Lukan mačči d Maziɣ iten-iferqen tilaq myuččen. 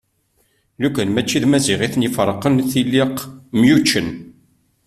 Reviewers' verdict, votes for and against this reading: rejected, 1, 2